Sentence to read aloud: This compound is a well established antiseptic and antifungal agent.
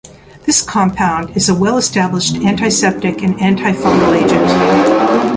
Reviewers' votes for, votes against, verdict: 1, 2, rejected